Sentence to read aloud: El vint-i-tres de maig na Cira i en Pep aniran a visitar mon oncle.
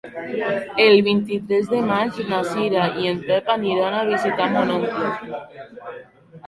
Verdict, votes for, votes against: rejected, 0, 2